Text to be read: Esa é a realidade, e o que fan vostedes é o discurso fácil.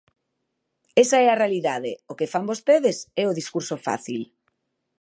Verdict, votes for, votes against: rejected, 1, 2